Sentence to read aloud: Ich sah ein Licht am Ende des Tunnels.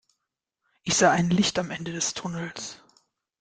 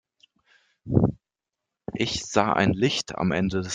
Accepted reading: first